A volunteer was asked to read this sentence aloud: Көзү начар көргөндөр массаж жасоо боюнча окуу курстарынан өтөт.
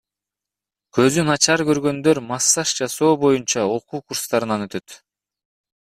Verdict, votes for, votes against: accepted, 2, 1